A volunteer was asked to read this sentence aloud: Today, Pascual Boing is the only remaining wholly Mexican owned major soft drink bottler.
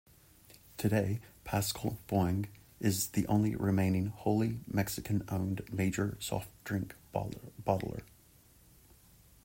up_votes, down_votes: 0, 3